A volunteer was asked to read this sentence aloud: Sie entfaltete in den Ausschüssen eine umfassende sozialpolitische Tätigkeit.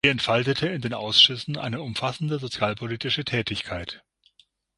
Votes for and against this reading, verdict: 0, 6, rejected